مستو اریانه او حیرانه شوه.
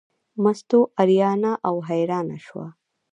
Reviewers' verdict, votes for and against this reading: rejected, 1, 2